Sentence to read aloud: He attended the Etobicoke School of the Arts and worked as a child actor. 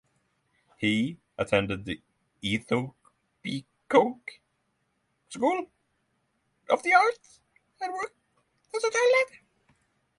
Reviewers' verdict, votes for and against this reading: rejected, 0, 6